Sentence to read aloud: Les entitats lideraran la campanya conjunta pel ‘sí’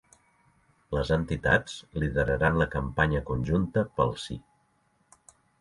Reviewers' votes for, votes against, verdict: 2, 0, accepted